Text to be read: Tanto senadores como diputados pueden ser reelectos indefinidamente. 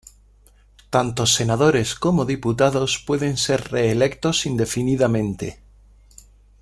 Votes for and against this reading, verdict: 2, 0, accepted